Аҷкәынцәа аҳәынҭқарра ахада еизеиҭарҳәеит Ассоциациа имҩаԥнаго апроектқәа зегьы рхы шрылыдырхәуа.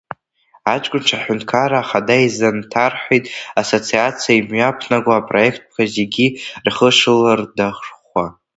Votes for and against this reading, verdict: 0, 2, rejected